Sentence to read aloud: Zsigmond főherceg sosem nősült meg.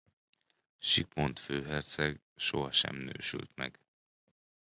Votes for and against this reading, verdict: 0, 2, rejected